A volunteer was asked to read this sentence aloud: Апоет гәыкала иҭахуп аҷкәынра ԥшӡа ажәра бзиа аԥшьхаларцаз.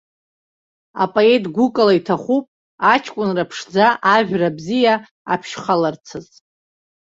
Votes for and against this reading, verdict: 2, 1, accepted